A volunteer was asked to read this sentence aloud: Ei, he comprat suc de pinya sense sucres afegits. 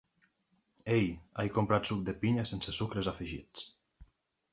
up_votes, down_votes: 2, 0